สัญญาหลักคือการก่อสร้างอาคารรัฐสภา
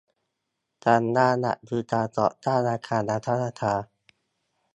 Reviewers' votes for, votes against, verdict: 0, 2, rejected